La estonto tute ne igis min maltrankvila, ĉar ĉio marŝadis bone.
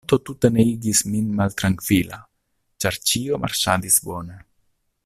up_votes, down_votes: 0, 2